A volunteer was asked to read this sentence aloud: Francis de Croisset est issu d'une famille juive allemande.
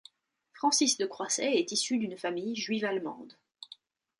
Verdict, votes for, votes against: accepted, 2, 0